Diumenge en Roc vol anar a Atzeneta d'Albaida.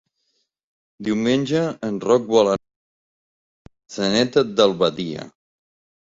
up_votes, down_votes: 1, 2